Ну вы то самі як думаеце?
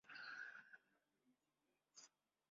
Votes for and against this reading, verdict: 0, 2, rejected